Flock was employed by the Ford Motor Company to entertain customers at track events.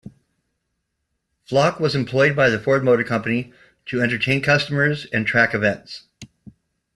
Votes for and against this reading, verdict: 0, 2, rejected